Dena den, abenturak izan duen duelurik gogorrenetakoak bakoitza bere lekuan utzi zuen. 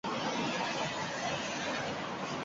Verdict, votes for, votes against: rejected, 0, 4